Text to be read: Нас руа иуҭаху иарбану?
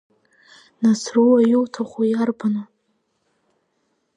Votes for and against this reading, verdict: 3, 0, accepted